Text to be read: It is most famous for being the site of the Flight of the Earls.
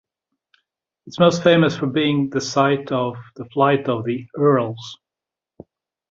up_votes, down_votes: 2, 0